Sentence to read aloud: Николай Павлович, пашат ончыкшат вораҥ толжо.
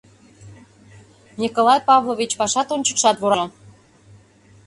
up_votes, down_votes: 0, 2